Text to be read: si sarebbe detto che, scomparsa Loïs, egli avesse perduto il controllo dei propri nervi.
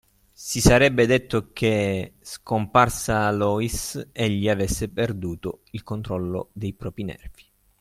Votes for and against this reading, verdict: 3, 0, accepted